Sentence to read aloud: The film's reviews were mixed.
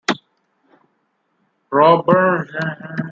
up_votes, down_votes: 0, 2